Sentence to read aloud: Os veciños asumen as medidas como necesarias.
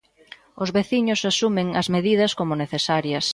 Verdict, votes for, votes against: accepted, 2, 0